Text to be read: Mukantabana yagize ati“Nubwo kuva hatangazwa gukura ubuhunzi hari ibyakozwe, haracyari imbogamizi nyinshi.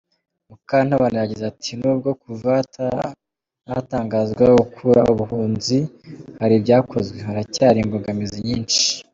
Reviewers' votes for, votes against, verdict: 0, 2, rejected